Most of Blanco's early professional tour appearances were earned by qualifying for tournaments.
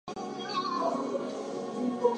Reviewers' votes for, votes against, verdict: 0, 4, rejected